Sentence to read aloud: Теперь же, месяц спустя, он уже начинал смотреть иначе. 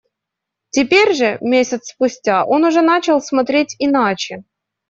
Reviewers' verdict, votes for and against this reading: rejected, 0, 2